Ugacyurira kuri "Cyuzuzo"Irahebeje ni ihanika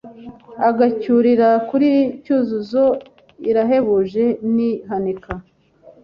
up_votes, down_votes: 1, 2